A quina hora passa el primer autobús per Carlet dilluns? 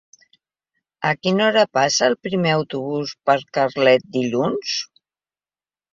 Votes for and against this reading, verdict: 3, 0, accepted